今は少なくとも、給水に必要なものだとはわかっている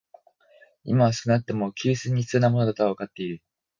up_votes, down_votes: 6, 0